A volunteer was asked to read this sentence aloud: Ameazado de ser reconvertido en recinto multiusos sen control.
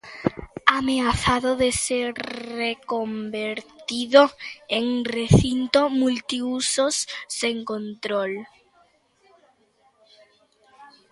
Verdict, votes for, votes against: rejected, 0, 3